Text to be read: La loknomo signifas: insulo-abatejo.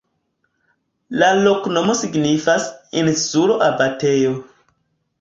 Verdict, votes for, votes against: accepted, 2, 0